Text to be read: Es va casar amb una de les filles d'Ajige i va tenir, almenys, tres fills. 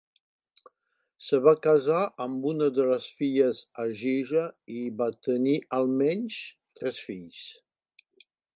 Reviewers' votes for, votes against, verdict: 0, 2, rejected